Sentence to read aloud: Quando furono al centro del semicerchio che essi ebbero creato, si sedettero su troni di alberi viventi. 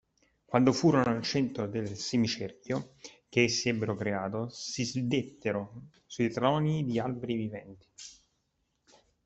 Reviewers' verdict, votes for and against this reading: rejected, 0, 2